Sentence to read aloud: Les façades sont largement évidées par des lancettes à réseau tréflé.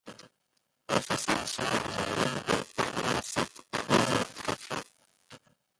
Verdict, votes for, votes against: rejected, 0, 2